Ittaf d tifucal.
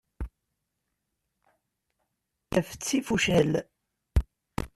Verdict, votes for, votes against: rejected, 1, 2